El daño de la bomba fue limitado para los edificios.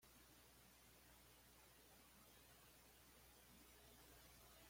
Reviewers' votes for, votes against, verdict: 1, 2, rejected